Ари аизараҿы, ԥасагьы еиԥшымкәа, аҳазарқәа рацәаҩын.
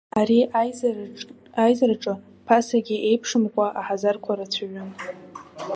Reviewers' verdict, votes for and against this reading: rejected, 0, 2